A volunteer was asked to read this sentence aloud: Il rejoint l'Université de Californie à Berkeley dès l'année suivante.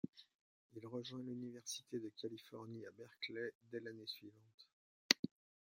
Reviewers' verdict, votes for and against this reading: rejected, 0, 2